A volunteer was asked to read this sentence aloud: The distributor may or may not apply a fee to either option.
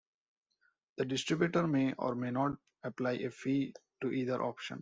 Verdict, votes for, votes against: accepted, 2, 0